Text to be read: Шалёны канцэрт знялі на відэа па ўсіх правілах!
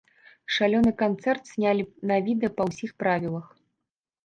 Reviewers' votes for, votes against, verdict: 2, 0, accepted